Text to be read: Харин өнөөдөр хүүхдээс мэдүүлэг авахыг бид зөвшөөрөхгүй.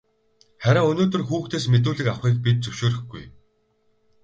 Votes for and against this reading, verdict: 0, 2, rejected